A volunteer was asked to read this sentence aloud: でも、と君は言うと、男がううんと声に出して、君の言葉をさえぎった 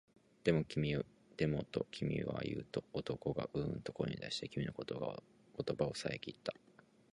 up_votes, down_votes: 0, 4